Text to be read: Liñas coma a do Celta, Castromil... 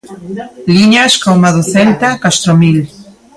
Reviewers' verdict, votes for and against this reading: rejected, 0, 2